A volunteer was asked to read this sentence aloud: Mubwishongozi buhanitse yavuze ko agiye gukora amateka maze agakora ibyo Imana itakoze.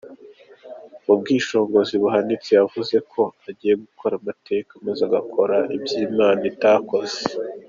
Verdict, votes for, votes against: accepted, 2, 0